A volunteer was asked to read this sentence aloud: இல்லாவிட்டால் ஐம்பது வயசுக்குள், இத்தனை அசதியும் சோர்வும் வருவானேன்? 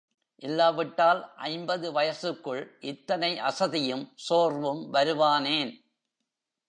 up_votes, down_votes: 1, 2